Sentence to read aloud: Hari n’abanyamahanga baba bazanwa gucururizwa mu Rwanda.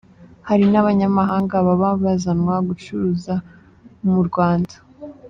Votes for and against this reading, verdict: 1, 2, rejected